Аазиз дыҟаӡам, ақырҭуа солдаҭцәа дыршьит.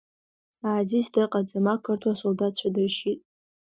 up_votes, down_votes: 2, 0